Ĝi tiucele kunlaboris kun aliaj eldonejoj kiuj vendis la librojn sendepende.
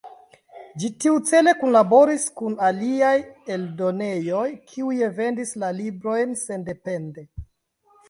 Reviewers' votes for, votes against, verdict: 1, 2, rejected